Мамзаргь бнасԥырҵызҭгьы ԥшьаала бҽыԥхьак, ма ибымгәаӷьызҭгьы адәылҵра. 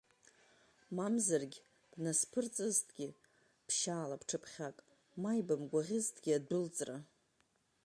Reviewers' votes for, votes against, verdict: 2, 0, accepted